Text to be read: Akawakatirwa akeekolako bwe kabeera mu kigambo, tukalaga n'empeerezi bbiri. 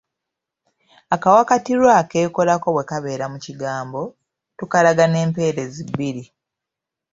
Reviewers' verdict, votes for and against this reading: accepted, 2, 0